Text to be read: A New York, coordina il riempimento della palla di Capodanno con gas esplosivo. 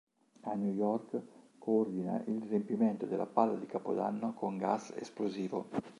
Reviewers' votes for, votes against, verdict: 2, 0, accepted